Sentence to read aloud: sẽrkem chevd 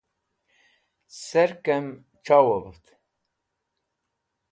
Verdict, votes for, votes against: rejected, 1, 2